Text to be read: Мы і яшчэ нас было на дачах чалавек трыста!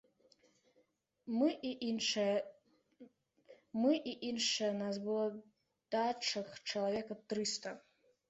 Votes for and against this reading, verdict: 0, 2, rejected